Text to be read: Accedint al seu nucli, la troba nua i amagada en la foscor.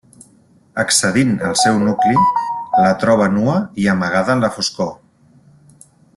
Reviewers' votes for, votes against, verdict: 1, 2, rejected